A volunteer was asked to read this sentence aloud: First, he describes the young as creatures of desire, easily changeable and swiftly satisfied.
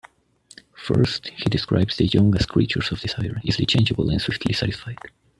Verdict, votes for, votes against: rejected, 1, 2